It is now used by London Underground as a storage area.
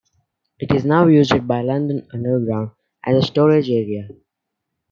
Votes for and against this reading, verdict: 2, 0, accepted